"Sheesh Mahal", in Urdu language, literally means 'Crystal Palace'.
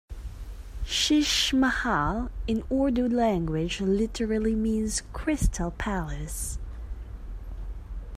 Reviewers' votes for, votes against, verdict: 2, 0, accepted